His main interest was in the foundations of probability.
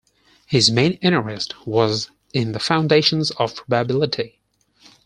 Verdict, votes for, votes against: rejected, 2, 4